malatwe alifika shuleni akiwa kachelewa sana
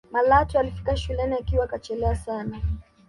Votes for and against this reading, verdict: 1, 2, rejected